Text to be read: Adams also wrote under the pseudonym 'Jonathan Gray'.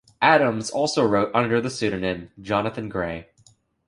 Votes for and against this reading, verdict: 2, 0, accepted